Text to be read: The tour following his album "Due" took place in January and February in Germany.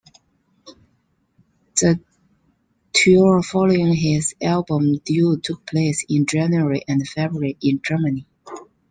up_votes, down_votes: 2, 0